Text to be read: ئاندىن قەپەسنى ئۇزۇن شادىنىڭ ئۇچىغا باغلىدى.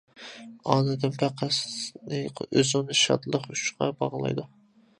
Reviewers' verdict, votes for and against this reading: rejected, 0, 2